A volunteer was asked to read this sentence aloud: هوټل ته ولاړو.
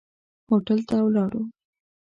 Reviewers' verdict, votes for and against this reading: accepted, 2, 0